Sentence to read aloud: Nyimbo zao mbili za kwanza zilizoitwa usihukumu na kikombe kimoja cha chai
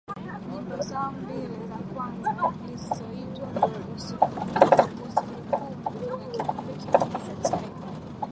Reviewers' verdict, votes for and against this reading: rejected, 1, 2